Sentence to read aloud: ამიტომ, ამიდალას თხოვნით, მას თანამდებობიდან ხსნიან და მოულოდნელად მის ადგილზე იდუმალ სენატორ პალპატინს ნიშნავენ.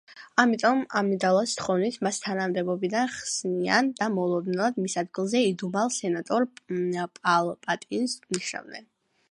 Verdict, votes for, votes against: accepted, 2, 0